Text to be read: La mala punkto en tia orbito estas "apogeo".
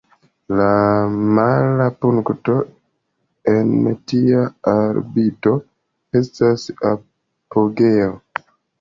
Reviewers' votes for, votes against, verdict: 2, 0, accepted